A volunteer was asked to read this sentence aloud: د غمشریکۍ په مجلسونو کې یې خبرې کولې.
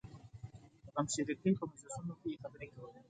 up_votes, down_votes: 2, 1